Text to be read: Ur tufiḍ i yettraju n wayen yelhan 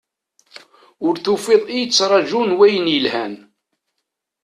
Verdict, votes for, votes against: accepted, 2, 0